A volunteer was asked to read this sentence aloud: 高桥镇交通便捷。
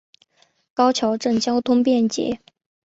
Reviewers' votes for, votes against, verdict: 6, 0, accepted